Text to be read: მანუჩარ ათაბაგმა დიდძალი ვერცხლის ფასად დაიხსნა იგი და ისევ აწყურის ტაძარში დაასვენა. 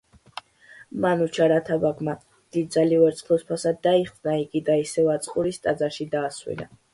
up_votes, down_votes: 2, 0